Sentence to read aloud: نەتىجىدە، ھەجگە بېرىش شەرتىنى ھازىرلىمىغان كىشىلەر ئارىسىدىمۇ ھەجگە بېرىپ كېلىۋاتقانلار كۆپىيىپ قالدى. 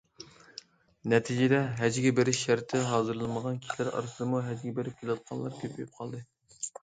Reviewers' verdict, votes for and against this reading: rejected, 0, 2